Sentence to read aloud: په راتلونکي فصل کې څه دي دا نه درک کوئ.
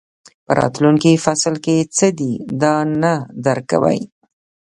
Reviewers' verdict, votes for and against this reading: rejected, 0, 2